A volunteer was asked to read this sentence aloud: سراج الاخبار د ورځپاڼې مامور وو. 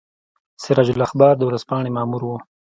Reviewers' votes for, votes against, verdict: 2, 0, accepted